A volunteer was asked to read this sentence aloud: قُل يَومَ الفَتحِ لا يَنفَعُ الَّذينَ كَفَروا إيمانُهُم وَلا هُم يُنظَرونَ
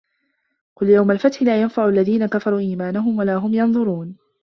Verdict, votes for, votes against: rejected, 0, 2